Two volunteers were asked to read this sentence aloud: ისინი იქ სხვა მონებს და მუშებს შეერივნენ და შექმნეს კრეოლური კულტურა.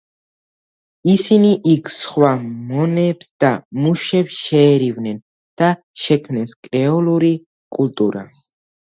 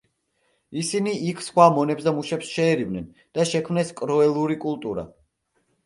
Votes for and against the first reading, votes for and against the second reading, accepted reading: 2, 0, 1, 2, first